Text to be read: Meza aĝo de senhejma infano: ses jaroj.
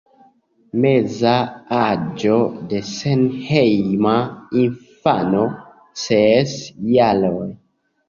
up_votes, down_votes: 2, 1